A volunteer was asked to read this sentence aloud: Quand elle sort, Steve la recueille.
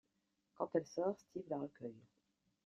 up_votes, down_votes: 2, 0